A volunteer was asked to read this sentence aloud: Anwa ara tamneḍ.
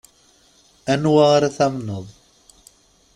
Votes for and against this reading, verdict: 2, 0, accepted